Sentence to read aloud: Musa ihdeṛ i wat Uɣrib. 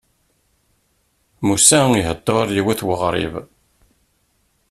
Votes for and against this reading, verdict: 1, 2, rejected